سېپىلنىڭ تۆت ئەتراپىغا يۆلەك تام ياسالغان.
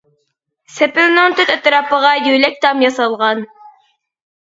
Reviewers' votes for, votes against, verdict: 2, 0, accepted